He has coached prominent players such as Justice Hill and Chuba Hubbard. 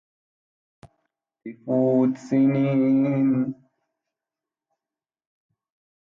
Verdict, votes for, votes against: rejected, 0, 2